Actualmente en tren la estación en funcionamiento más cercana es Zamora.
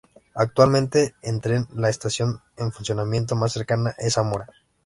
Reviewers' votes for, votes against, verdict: 2, 1, accepted